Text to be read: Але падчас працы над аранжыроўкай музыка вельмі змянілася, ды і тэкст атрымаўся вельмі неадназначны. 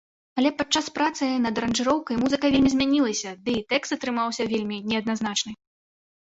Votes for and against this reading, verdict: 2, 0, accepted